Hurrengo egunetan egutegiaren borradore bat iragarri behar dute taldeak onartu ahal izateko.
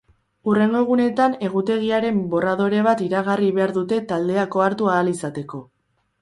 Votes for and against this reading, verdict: 0, 2, rejected